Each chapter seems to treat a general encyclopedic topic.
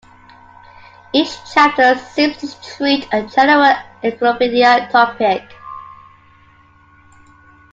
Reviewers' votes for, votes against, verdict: 2, 1, accepted